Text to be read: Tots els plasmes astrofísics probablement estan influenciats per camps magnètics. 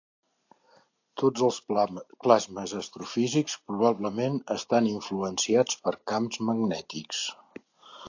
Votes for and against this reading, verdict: 0, 2, rejected